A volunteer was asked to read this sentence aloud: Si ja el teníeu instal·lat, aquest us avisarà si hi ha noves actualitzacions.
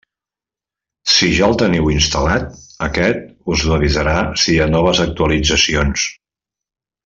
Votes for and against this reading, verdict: 1, 2, rejected